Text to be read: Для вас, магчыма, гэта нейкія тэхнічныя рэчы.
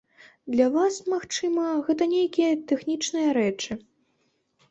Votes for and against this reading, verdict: 2, 0, accepted